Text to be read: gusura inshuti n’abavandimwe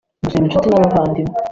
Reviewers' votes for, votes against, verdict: 2, 1, accepted